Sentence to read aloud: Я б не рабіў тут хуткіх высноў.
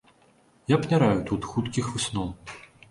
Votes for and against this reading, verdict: 1, 3, rejected